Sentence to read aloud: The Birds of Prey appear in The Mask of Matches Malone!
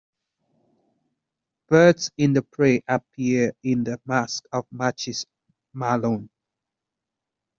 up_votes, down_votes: 0, 2